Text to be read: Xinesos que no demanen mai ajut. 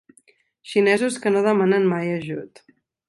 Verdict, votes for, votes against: accepted, 2, 0